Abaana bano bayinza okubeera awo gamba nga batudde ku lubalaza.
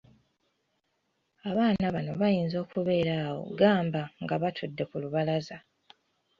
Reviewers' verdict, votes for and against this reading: accepted, 2, 1